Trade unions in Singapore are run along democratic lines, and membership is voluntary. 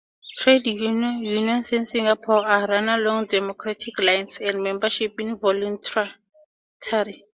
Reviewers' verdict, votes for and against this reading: accepted, 4, 0